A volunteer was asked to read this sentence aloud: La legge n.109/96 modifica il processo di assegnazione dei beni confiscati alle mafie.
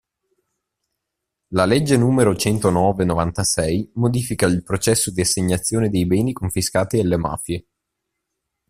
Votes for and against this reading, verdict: 0, 2, rejected